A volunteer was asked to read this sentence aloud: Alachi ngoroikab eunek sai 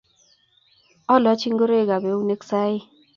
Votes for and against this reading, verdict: 2, 0, accepted